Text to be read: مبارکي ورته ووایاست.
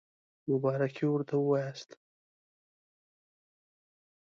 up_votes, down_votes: 2, 0